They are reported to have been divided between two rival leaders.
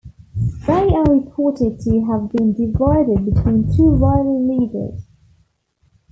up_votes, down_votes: 2, 0